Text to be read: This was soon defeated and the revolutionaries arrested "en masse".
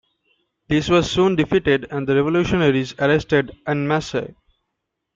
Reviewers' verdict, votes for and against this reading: rejected, 0, 2